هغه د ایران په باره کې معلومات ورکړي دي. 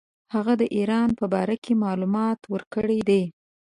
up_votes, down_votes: 2, 0